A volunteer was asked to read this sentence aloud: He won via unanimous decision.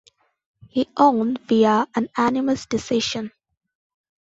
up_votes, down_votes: 0, 2